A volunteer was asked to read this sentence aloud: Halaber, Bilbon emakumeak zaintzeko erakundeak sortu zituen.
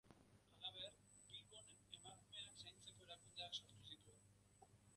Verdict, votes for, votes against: rejected, 0, 2